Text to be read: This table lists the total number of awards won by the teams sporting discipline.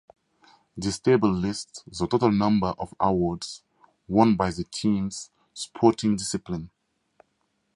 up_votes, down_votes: 4, 0